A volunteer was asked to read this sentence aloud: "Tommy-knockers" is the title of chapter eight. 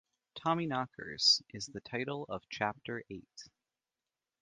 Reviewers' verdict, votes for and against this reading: accepted, 2, 0